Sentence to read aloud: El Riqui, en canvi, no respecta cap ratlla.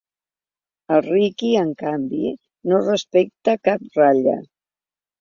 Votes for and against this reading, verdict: 3, 0, accepted